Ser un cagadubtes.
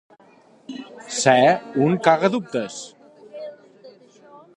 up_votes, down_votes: 2, 0